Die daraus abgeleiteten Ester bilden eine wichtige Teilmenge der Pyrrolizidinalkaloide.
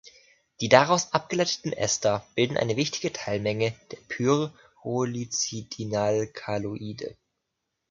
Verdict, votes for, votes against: rejected, 1, 2